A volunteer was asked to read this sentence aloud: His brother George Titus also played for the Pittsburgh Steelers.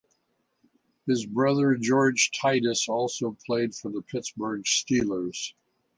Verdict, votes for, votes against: accepted, 2, 0